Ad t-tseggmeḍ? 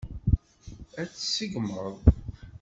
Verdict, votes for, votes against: rejected, 1, 2